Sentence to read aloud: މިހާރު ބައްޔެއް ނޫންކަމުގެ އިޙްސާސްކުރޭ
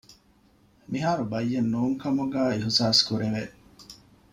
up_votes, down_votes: 0, 2